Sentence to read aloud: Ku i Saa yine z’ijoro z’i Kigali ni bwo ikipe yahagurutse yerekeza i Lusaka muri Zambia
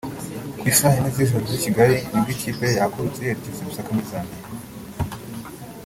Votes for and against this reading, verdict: 0, 3, rejected